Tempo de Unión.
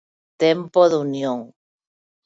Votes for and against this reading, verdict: 2, 0, accepted